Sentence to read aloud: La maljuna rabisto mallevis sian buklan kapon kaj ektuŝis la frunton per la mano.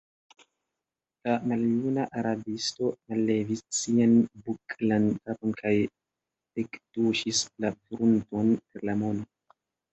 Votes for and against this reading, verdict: 1, 2, rejected